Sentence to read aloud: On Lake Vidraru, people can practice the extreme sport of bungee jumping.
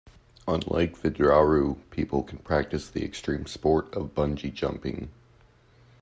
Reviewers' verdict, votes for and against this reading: accepted, 2, 0